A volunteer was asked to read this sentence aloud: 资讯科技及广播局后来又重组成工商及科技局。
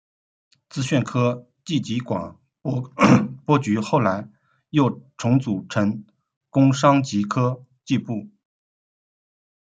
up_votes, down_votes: 0, 2